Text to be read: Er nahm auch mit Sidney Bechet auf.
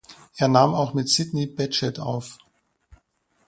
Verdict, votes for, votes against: rejected, 0, 2